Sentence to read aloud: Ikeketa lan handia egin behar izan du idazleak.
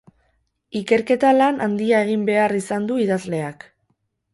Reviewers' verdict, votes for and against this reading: rejected, 4, 4